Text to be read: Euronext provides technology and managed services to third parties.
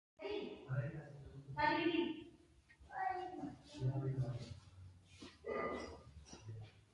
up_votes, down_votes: 0, 2